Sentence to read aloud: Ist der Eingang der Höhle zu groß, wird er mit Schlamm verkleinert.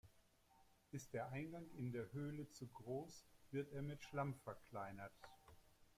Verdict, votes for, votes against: rejected, 1, 2